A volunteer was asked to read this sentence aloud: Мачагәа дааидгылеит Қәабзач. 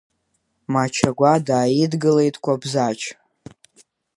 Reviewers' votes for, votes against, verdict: 1, 2, rejected